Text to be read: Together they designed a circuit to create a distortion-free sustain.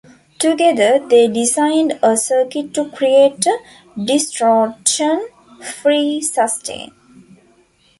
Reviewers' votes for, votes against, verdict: 2, 0, accepted